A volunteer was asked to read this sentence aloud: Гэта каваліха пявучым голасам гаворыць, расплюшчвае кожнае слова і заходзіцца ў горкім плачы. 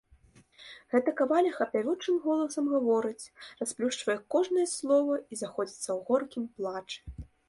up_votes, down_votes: 2, 0